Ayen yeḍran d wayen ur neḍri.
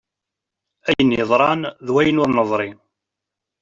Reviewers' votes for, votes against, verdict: 1, 2, rejected